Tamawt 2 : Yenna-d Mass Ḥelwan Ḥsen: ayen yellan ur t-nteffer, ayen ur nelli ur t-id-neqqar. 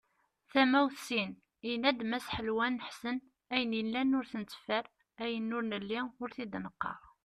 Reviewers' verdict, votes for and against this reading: rejected, 0, 2